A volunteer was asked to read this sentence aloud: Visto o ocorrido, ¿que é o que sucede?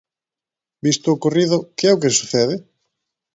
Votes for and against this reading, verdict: 2, 0, accepted